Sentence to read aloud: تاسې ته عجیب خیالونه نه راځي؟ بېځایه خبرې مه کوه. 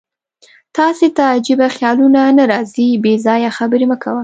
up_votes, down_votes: 2, 0